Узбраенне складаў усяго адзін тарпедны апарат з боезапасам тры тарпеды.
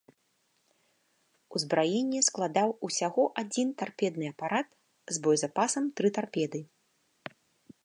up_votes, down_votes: 3, 0